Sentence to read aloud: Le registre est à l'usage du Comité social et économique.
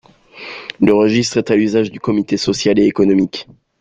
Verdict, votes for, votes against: accepted, 2, 0